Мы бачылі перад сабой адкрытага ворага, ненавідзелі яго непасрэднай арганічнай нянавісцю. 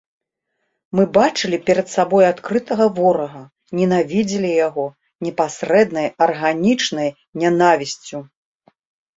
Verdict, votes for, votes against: accepted, 3, 0